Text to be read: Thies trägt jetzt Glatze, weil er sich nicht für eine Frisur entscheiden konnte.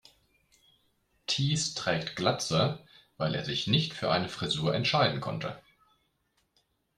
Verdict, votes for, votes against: rejected, 0, 2